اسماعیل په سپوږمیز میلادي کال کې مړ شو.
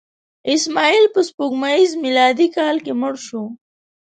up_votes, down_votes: 2, 0